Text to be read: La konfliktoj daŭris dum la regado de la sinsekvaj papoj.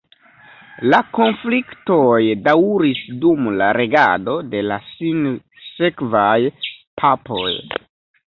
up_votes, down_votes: 1, 2